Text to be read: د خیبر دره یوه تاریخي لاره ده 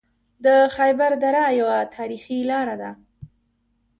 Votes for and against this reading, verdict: 2, 1, accepted